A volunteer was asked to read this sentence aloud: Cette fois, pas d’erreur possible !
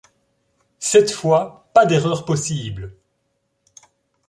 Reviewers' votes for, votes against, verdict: 2, 0, accepted